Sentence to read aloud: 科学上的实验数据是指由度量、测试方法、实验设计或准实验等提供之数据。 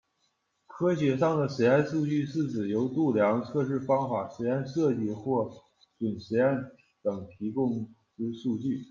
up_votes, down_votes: 2, 1